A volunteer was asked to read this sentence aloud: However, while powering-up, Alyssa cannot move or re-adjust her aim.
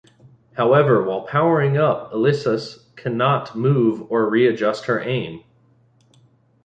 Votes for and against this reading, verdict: 1, 2, rejected